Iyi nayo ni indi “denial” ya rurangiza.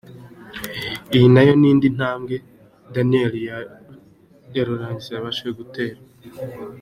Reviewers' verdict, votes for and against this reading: rejected, 1, 4